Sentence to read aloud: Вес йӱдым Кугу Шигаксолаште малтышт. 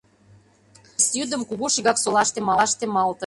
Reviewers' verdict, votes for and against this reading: rejected, 0, 2